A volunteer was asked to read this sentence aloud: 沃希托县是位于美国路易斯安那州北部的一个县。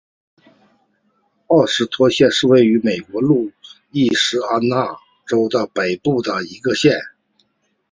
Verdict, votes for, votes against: rejected, 1, 2